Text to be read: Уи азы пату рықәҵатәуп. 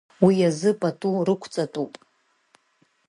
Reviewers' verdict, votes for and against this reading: accepted, 2, 0